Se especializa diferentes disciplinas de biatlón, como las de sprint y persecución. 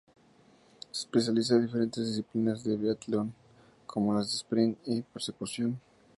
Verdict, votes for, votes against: rejected, 0, 2